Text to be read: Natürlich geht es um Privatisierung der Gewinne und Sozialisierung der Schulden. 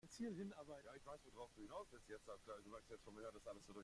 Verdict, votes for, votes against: rejected, 0, 2